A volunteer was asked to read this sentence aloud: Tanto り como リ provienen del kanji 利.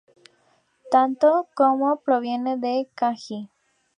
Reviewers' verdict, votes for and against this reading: rejected, 2, 2